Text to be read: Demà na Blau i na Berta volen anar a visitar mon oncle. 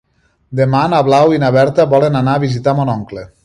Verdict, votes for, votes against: accepted, 4, 0